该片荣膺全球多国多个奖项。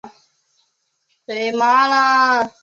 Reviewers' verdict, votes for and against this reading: rejected, 0, 2